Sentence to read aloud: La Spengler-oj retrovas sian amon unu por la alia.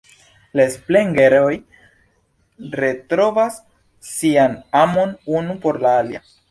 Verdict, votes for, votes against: accepted, 2, 0